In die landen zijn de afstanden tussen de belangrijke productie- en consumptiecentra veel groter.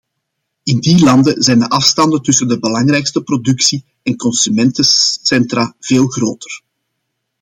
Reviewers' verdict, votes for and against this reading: rejected, 0, 2